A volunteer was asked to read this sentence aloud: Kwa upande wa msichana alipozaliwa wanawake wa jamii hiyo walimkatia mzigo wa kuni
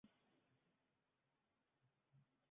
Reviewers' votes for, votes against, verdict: 0, 2, rejected